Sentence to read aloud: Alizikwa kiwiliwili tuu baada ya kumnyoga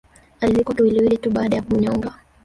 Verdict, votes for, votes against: rejected, 1, 2